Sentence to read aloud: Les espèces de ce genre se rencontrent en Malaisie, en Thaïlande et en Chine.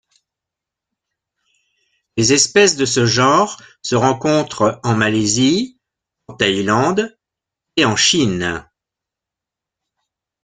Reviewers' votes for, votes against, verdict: 2, 0, accepted